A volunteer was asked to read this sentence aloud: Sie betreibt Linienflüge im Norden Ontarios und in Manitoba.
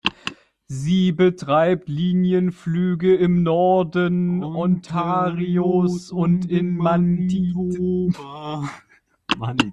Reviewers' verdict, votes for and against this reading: rejected, 0, 2